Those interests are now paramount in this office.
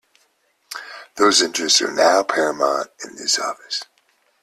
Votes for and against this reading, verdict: 2, 0, accepted